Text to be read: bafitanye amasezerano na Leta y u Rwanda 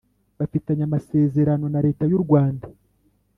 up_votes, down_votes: 3, 0